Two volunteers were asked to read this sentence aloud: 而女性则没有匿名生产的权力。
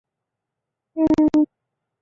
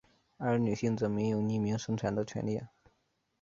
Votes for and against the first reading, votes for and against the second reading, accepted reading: 1, 3, 5, 0, second